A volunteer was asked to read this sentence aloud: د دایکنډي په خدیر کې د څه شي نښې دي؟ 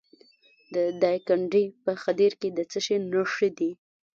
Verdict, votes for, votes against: rejected, 0, 2